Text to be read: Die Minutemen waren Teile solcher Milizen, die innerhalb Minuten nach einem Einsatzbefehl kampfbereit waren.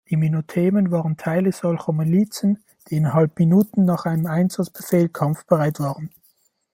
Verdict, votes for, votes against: accepted, 2, 1